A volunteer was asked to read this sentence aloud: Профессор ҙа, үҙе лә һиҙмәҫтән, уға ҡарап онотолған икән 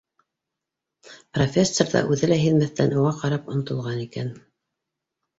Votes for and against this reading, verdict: 2, 0, accepted